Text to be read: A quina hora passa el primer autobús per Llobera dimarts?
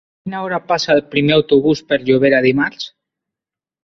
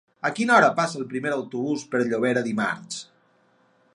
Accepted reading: second